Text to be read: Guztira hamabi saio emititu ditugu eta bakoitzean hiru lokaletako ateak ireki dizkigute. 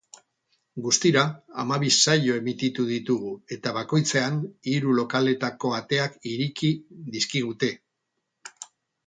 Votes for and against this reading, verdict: 2, 0, accepted